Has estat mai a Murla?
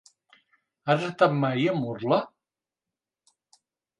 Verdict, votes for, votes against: accepted, 2, 0